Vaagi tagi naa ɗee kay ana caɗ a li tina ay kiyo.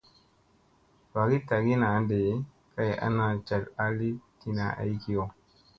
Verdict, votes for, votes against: accepted, 2, 0